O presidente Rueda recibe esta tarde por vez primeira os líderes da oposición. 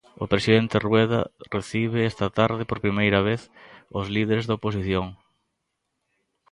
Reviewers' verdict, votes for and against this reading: rejected, 1, 2